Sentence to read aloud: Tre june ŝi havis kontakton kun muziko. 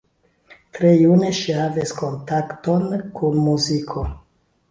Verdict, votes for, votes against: accepted, 2, 1